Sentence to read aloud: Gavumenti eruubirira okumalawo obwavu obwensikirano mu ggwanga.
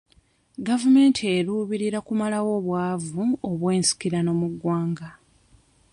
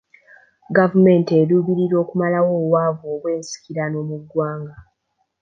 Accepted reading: second